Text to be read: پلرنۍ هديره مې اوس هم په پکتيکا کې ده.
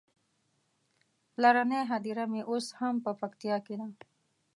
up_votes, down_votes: 2, 1